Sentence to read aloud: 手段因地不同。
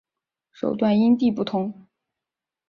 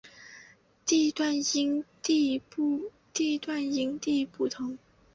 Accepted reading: first